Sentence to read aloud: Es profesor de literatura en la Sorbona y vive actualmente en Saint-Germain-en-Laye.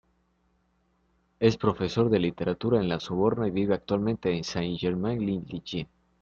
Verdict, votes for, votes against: rejected, 1, 2